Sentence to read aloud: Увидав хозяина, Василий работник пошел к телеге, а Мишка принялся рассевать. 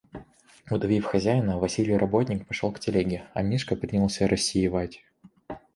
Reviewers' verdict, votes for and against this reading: rejected, 1, 2